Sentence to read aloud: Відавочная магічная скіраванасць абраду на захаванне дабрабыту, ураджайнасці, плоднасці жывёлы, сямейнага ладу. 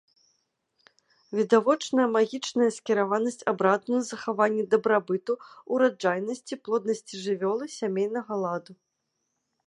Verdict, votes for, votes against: accepted, 2, 0